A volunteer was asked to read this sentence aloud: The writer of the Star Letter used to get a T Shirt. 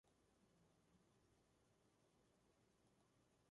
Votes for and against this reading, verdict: 0, 2, rejected